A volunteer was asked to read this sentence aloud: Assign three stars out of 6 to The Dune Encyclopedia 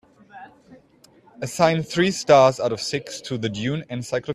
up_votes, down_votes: 0, 2